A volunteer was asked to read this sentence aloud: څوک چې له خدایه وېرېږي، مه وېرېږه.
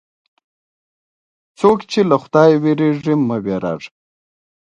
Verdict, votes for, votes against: accepted, 2, 0